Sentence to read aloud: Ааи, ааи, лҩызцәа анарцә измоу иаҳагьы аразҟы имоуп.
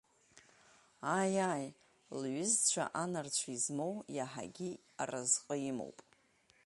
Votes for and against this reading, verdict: 3, 0, accepted